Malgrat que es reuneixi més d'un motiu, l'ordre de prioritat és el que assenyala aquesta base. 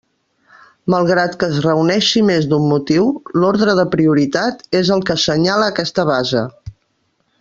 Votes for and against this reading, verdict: 2, 0, accepted